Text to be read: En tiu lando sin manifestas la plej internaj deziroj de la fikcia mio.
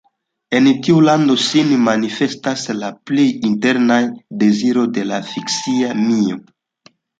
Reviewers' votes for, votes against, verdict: 0, 2, rejected